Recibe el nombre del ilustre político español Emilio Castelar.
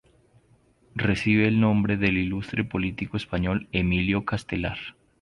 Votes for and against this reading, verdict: 4, 0, accepted